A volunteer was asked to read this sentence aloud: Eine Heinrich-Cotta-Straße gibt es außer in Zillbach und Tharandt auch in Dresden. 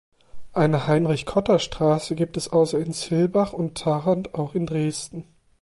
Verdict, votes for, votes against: accepted, 2, 0